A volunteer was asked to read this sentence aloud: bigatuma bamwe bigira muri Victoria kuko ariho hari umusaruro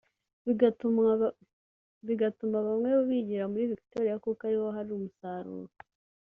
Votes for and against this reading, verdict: 0, 2, rejected